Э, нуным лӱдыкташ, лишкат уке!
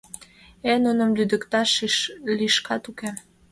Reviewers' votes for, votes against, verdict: 1, 2, rejected